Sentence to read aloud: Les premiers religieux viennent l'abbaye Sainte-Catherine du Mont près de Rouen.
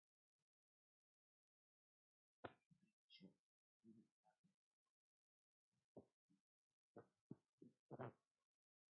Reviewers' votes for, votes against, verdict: 0, 2, rejected